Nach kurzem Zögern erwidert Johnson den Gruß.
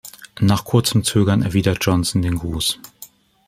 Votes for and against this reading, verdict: 2, 0, accepted